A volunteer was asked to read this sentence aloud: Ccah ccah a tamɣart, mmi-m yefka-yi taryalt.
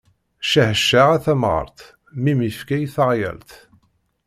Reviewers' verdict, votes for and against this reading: rejected, 1, 2